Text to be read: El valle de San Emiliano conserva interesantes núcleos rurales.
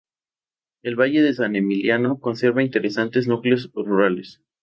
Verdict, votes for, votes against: accepted, 2, 0